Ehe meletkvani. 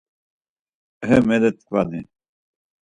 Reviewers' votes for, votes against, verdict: 4, 0, accepted